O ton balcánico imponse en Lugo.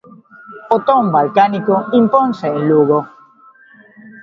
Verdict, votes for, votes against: rejected, 1, 2